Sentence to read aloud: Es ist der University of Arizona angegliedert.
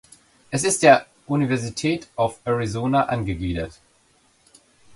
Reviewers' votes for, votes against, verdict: 1, 2, rejected